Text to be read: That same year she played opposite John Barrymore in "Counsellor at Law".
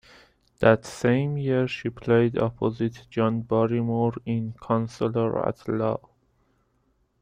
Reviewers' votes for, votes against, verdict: 2, 0, accepted